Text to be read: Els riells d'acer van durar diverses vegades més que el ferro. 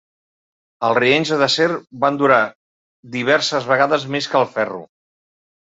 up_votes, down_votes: 1, 2